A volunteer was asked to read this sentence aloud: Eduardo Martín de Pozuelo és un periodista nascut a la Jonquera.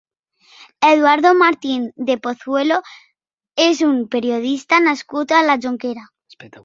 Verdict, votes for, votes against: accepted, 3, 1